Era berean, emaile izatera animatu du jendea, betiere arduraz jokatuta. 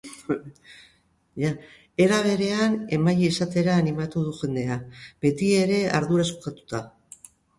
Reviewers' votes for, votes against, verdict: 1, 2, rejected